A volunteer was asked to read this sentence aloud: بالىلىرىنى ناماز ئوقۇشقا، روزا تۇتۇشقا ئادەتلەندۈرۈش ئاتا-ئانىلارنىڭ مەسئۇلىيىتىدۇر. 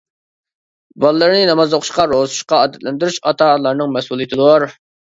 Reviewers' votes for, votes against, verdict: 0, 2, rejected